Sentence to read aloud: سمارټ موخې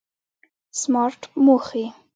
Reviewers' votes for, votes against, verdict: 2, 1, accepted